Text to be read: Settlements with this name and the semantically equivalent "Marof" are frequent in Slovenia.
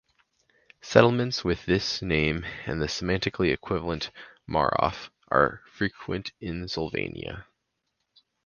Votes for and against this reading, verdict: 4, 2, accepted